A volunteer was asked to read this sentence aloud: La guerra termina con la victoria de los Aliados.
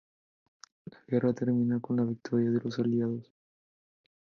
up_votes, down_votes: 2, 0